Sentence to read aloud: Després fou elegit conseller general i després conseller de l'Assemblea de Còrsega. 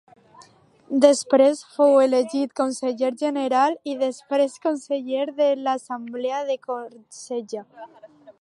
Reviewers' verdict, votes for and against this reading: rejected, 0, 2